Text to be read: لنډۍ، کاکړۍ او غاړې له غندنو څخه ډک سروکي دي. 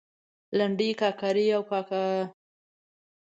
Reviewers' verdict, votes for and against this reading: rejected, 1, 2